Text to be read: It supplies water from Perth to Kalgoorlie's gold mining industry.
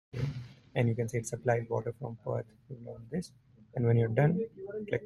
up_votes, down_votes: 0, 2